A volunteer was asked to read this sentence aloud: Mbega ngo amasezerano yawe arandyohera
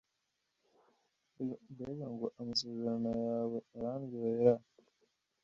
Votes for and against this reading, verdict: 1, 2, rejected